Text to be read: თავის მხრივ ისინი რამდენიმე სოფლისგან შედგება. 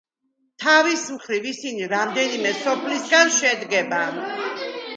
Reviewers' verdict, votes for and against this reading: rejected, 1, 2